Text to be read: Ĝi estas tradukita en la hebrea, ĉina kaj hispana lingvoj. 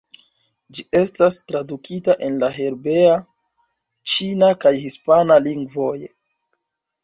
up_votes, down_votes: 0, 2